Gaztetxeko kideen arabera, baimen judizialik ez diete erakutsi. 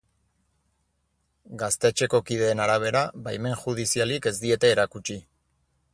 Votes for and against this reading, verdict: 4, 0, accepted